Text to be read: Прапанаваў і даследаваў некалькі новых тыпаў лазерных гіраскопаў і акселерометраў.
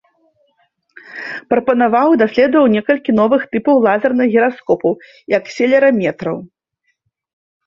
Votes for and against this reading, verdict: 1, 3, rejected